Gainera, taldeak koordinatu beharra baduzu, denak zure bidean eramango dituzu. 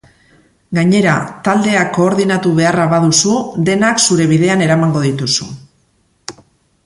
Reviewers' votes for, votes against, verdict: 2, 0, accepted